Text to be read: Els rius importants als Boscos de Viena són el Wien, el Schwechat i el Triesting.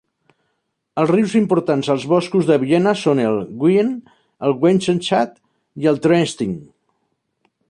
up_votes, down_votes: 0, 2